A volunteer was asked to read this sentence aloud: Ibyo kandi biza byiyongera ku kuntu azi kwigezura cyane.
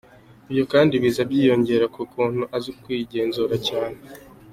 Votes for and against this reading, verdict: 2, 0, accepted